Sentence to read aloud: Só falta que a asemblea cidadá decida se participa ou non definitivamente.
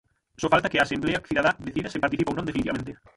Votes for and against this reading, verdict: 0, 6, rejected